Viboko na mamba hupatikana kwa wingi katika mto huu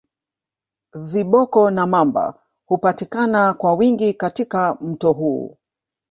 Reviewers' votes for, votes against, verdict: 1, 2, rejected